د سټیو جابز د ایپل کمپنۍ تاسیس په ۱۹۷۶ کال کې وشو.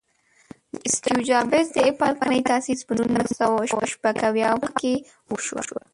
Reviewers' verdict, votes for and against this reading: rejected, 0, 2